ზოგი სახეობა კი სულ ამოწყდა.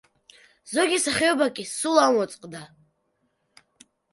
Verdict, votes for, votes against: rejected, 0, 2